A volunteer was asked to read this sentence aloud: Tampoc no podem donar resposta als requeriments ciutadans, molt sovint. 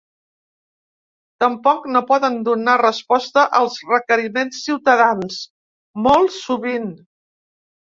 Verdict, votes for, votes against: rejected, 0, 3